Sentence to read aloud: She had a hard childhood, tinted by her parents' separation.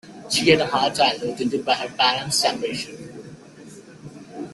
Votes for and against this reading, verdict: 2, 1, accepted